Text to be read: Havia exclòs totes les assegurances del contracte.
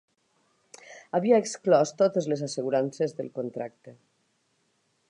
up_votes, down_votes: 3, 0